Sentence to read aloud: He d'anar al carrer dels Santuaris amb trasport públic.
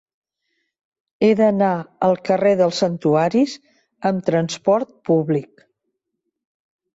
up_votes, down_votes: 0, 2